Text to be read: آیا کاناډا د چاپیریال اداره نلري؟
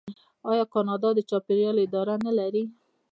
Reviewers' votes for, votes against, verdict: 1, 2, rejected